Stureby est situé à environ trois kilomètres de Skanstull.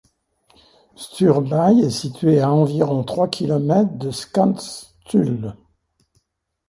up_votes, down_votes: 2, 1